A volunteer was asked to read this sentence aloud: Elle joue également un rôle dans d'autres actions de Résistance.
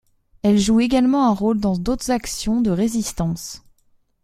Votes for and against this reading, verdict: 2, 0, accepted